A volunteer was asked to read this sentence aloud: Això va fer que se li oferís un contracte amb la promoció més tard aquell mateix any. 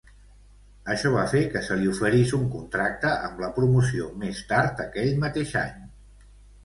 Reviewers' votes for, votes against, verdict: 2, 0, accepted